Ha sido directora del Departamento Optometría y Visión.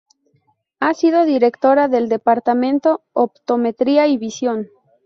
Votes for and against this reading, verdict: 2, 0, accepted